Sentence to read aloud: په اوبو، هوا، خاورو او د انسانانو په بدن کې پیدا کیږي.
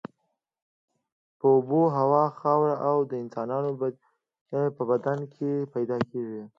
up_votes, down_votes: 2, 0